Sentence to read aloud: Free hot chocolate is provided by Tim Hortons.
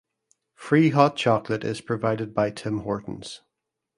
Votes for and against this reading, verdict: 2, 0, accepted